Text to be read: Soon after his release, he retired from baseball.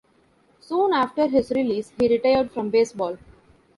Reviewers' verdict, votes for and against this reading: accepted, 2, 1